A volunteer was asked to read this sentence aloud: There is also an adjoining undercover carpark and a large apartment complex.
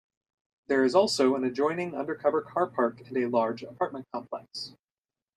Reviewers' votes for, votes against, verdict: 1, 2, rejected